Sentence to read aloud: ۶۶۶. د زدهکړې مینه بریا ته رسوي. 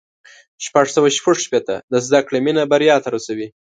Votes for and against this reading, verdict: 0, 2, rejected